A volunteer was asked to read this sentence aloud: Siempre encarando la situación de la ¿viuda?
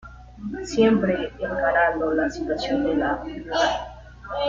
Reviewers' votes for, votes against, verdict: 0, 2, rejected